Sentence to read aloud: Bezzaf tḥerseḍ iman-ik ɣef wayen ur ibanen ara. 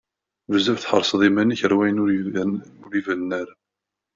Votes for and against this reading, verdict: 1, 2, rejected